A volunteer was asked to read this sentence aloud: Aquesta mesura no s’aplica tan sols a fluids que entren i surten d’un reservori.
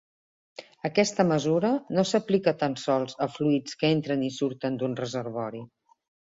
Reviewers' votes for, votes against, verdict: 3, 0, accepted